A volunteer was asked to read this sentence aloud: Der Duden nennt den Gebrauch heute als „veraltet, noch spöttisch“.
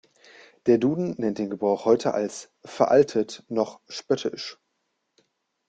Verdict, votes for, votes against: accepted, 2, 0